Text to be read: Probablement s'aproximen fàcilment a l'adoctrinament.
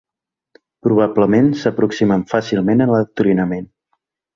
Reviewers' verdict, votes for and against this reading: accepted, 2, 0